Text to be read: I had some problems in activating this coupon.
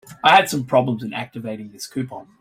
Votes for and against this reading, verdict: 2, 0, accepted